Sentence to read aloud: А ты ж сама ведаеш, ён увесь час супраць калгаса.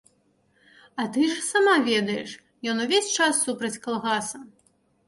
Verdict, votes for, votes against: accepted, 2, 0